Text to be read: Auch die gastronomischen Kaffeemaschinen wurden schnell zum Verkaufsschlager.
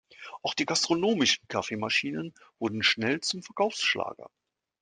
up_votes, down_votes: 2, 0